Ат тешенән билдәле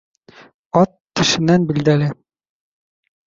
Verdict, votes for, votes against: rejected, 0, 2